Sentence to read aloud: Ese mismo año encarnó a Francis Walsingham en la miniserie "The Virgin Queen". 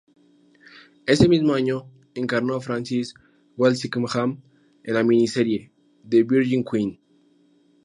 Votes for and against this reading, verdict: 2, 0, accepted